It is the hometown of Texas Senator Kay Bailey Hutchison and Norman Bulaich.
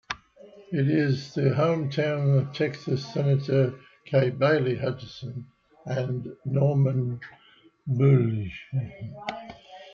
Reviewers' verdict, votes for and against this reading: rejected, 0, 2